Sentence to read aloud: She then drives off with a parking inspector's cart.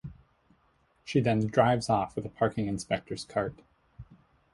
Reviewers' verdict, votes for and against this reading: accepted, 2, 0